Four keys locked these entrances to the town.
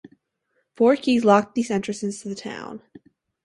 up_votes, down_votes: 2, 0